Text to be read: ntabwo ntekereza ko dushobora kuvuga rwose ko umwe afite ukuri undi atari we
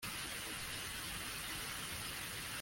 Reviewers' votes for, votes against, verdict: 0, 2, rejected